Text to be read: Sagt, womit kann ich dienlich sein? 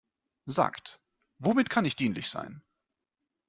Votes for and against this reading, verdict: 2, 0, accepted